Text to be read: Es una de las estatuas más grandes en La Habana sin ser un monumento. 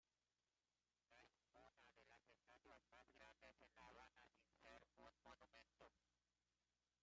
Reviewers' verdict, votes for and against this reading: rejected, 0, 2